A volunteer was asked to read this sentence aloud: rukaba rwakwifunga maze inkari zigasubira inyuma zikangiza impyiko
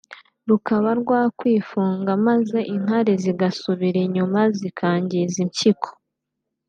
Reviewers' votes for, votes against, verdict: 2, 0, accepted